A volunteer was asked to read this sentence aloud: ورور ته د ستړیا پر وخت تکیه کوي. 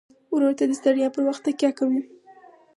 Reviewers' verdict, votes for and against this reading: accepted, 4, 0